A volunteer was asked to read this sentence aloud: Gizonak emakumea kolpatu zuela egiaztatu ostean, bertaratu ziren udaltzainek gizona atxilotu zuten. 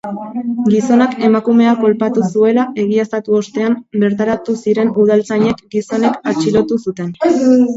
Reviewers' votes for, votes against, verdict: 2, 1, accepted